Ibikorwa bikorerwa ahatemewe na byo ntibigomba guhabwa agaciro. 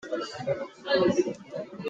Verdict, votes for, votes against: rejected, 0, 2